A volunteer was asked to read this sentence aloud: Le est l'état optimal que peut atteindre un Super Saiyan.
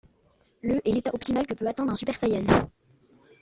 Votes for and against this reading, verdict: 2, 0, accepted